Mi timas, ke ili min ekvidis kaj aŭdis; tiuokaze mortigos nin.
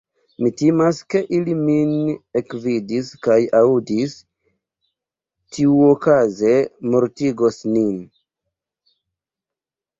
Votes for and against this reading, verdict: 1, 2, rejected